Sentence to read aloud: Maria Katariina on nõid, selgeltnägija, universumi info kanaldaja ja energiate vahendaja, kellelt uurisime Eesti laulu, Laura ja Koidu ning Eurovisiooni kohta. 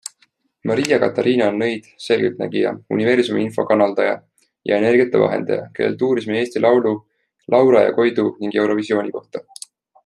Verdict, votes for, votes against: accepted, 2, 0